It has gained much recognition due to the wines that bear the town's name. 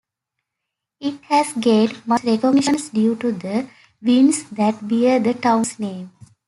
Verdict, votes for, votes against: rejected, 0, 2